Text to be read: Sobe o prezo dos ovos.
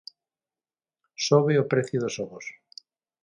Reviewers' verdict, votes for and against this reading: rejected, 0, 6